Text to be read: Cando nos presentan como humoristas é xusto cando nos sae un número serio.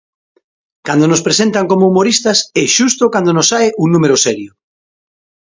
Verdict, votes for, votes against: accepted, 2, 0